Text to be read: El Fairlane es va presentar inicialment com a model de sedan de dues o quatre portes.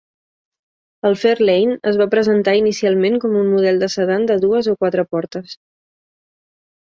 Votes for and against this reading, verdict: 2, 0, accepted